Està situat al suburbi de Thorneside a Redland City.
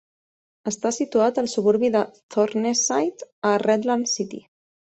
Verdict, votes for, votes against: accepted, 4, 0